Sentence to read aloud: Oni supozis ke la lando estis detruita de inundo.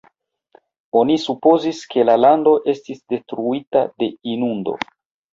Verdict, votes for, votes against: accepted, 2, 1